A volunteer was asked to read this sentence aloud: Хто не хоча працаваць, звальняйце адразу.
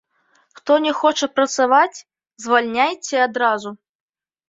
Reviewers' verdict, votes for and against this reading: accepted, 2, 0